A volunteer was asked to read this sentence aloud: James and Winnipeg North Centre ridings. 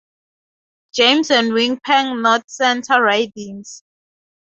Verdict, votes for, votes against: rejected, 0, 2